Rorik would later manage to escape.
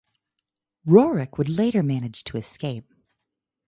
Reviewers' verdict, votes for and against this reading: accepted, 4, 0